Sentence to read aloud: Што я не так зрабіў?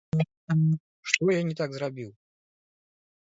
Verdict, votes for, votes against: rejected, 1, 2